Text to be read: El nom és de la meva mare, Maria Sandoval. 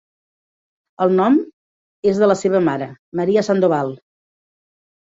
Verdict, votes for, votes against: rejected, 0, 3